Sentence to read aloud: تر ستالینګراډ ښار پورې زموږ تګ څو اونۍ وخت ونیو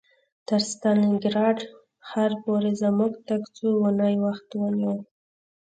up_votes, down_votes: 3, 0